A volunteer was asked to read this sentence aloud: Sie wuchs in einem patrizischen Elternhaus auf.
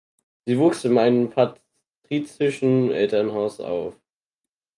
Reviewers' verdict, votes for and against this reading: rejected, 2, 4